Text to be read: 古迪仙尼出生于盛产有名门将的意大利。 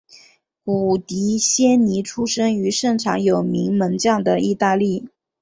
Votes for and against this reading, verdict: 3, 0, accepted